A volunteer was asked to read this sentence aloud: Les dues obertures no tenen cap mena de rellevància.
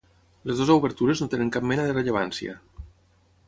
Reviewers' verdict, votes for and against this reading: accepted, 6, 3